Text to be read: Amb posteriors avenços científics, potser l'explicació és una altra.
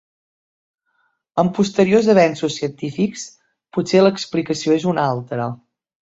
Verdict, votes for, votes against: accepted, 2, 0